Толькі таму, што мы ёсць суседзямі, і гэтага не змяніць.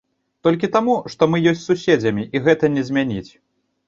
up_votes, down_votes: 0, 2